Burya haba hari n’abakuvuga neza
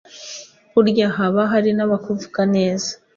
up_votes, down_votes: 2, 0